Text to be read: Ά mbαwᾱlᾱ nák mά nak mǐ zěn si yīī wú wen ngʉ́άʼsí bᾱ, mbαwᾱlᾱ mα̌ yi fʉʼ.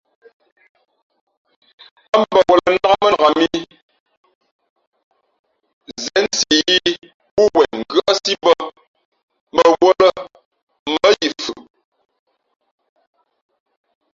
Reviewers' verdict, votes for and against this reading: rejected, 0, 2